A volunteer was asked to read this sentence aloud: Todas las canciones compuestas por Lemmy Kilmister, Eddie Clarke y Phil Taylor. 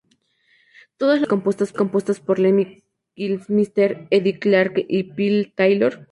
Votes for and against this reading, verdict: 0, 2, rejected